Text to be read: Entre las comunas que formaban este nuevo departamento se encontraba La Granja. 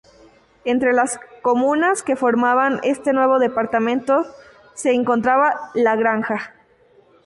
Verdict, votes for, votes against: accepted, 2, 0